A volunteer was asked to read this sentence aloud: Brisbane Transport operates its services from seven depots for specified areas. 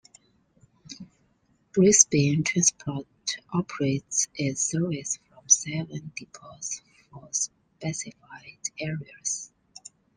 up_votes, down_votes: 2, 0